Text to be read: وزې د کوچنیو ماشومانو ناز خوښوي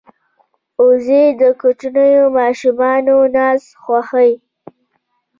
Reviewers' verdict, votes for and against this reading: rejected, 0, 2